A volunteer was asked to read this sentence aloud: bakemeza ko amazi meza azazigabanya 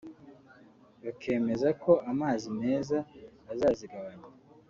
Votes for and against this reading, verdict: 2, 0, accepted